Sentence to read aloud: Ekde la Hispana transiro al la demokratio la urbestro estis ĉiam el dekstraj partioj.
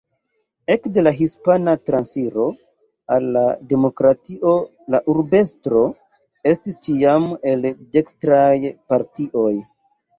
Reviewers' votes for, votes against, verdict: 1, 2, rejected